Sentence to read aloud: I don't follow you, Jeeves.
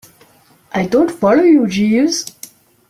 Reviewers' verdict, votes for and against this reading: accepted, 2, 0